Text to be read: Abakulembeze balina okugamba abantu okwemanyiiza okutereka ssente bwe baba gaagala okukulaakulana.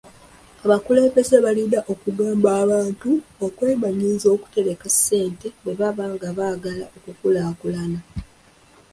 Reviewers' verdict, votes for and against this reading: rejected, 1, 2